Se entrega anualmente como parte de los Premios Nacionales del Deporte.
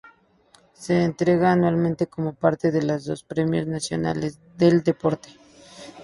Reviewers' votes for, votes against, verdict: 6, 6, rejected